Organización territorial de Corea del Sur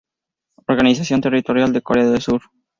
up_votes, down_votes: 2, 2